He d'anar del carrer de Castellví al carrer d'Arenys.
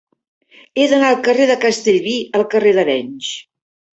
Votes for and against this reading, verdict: 1, 2, rejected